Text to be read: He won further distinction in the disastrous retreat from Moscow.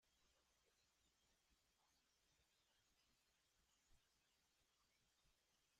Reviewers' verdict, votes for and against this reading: rejected, 0, 2